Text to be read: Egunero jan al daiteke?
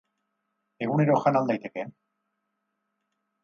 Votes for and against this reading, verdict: 4, 0, accepted